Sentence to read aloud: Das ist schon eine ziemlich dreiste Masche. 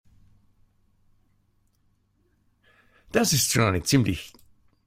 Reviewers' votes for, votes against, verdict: 0, 2, rejected